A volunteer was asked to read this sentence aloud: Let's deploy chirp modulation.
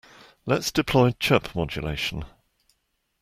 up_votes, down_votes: 2, 0